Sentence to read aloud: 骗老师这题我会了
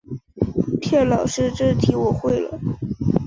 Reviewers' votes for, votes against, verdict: 2, 0, accepted